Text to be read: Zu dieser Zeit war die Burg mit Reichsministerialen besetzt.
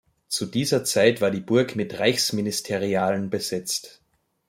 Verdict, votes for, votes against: accepted, 2, 0